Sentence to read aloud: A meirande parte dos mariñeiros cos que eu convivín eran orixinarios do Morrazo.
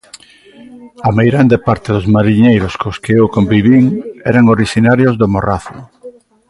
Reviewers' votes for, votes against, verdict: 2, 0, accepted